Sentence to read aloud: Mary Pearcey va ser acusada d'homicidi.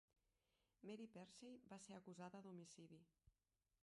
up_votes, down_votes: 1, 2